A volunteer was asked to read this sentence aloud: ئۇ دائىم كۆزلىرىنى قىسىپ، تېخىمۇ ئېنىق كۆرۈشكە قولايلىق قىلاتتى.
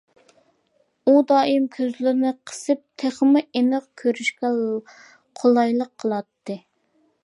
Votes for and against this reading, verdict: 0, 2, rejected